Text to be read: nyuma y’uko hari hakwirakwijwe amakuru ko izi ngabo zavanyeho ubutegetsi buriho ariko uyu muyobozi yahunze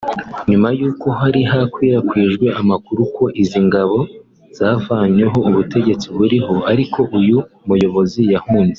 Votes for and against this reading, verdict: 0, 2, rejected